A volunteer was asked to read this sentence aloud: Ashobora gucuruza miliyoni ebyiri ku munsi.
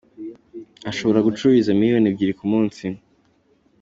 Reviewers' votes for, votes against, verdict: 3, 0, accepted